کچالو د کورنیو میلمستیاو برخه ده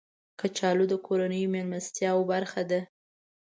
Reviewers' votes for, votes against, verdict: 2, 0, accepted